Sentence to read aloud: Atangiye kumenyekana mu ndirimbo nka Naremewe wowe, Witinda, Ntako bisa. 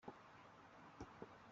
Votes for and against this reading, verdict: 0, 2, rejected